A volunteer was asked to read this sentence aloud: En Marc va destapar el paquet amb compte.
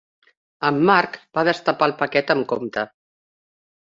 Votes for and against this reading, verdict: 3, 0, accepted